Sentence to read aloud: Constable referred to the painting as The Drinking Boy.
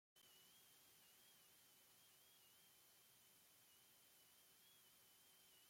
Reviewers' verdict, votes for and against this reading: rejected, 1, 2